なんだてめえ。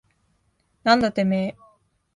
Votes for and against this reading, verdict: 2, 0, accepted